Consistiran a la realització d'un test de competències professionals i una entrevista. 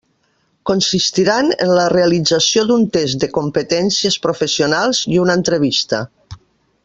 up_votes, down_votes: 0, 2